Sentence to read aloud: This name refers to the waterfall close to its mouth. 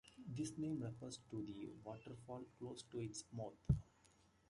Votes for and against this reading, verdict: 2, 0, accepted